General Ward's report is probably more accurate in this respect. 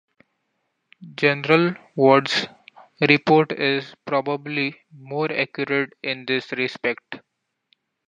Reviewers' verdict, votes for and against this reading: accepted, 2, 0